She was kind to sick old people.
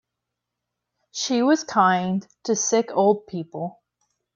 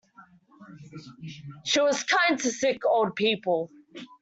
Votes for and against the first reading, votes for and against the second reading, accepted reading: 2, 0, 1, 2, first